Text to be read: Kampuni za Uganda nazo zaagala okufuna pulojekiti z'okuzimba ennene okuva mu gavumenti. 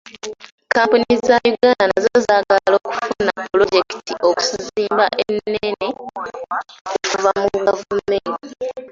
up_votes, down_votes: 0, 2